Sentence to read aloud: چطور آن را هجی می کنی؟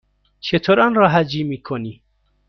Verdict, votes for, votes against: rejected, 1, 2